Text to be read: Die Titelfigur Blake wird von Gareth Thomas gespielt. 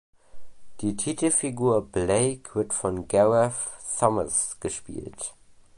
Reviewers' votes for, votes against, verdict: 1, 2, rejected